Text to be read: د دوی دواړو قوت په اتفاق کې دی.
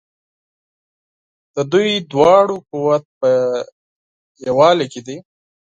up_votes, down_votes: 2, 4